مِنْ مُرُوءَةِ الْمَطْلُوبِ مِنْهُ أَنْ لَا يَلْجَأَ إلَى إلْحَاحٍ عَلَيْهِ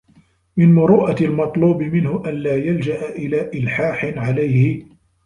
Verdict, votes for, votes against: rejected, 1, 2